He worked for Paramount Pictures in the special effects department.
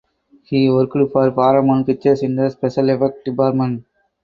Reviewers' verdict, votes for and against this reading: rejected, 0, 2